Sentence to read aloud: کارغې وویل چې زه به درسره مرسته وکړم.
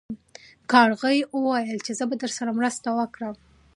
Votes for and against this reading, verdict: 2, 0, accepted